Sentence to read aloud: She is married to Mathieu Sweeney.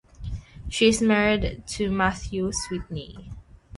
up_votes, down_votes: 3, 0